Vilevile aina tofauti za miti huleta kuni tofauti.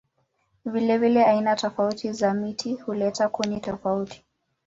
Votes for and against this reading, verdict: 2, 0, accepted